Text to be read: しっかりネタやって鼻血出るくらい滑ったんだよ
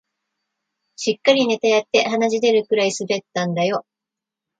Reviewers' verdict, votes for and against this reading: rejected, 1, 2